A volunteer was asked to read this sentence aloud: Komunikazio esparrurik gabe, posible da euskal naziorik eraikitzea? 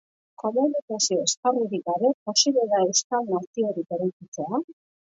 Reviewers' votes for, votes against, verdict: 0, 2, rejected